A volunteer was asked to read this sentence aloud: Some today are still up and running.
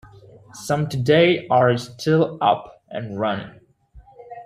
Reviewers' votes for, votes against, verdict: 2, 0, accepted